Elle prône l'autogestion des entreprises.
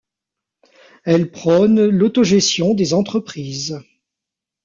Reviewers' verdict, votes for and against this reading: rejected, 1, 2